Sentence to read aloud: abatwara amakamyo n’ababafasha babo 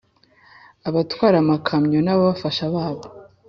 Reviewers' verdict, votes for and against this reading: accepted, 3, 0